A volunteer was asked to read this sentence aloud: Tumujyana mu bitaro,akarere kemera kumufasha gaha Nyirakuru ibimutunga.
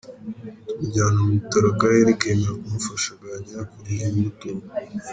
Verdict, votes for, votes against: rejected, 0, 2